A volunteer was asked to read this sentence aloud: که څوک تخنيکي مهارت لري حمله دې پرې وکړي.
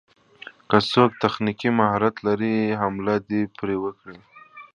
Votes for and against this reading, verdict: 2, 0, accepted